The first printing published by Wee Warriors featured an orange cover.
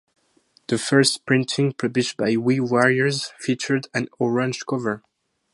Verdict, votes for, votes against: accepted, 2, 0